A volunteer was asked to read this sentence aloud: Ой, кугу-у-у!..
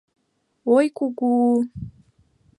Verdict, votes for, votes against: accepted, 2, 0